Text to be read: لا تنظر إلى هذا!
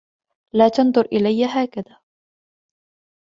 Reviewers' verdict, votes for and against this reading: rejected, 1, 2